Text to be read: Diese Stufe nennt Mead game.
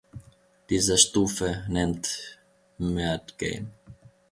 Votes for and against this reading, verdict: 0, 2, rejected